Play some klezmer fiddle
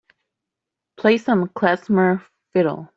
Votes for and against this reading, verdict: 2, 0, accepted